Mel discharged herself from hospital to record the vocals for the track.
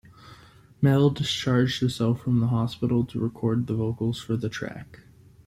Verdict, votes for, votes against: rejected, 0, 2